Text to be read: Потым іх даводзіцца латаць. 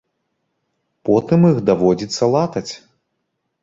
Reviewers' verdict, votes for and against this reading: rejected, 1, 2